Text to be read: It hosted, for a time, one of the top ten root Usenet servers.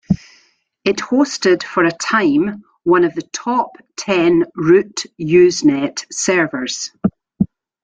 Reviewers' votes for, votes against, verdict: 2, 0, accepted